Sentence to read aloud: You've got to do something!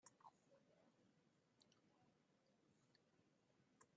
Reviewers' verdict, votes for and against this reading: rejected, 0, 2